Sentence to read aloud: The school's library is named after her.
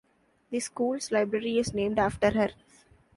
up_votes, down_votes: 2, 0